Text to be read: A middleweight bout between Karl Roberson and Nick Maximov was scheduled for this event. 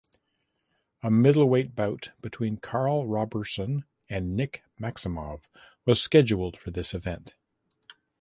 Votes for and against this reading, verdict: 2, 0, accepted